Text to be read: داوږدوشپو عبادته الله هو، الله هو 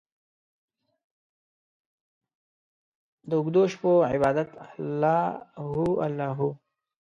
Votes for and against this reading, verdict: 1, 2, rejected